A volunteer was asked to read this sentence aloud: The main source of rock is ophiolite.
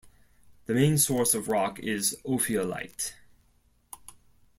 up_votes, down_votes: 2, 0